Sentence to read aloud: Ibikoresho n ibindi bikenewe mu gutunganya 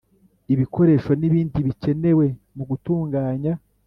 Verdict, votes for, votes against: accepted, 2, 0